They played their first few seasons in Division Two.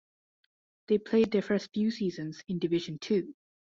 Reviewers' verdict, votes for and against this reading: accepted, 2, 0